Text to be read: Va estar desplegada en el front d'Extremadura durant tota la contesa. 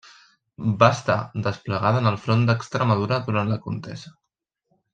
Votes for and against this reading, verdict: 0, 2, rejected